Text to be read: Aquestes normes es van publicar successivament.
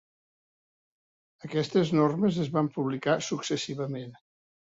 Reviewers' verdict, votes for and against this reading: accepted, 3, 0